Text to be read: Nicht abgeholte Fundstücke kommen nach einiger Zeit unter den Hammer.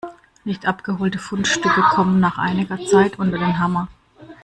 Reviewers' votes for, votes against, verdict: 0, 2, rejected